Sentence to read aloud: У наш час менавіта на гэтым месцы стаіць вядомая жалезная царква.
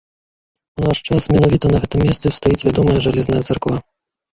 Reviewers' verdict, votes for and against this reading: accepted, 2, 1